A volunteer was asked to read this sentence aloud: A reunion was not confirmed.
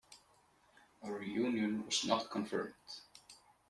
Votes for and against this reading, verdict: 2, 1, accepted